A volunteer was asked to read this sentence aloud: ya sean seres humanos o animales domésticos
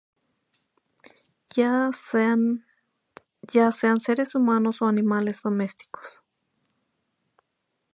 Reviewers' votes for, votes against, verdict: 0, 2, rejected